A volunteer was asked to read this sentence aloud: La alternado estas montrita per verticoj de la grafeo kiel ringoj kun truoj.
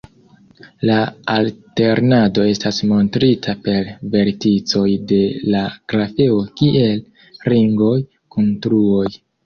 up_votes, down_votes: 2, 1